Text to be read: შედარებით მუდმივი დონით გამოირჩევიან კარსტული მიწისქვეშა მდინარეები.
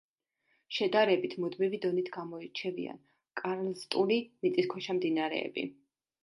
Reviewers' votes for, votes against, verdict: 0, 2, rejected